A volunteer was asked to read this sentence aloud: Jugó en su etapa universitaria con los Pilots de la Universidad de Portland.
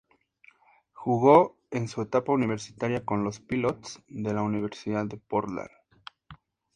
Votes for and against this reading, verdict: 2, 0, accepted